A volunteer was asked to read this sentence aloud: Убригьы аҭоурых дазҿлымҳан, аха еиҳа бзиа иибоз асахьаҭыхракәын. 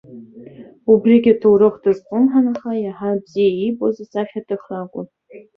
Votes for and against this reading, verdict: 2, 0, accepted